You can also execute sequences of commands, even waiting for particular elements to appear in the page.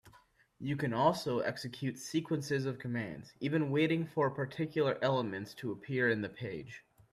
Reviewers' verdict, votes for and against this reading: accepted, 2, 0